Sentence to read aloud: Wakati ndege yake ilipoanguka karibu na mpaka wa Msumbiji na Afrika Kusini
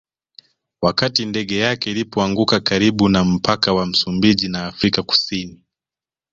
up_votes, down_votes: 2, 0